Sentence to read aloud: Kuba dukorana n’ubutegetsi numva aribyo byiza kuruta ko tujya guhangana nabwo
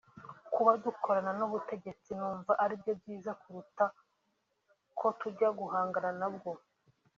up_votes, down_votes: 1, 2